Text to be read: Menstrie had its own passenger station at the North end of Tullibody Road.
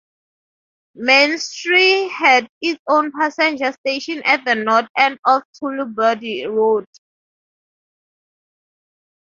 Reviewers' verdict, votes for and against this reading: rejected, 0, 2